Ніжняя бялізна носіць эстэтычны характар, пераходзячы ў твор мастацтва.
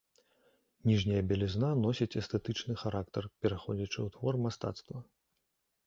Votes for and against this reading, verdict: 0, 2, rejected